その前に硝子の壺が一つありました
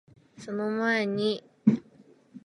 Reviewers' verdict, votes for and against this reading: rejected, 0, 2